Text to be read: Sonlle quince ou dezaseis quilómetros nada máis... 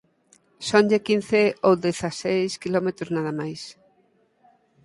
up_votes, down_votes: 4, 0